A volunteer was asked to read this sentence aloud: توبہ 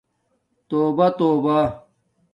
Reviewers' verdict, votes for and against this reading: rejected, 1, 2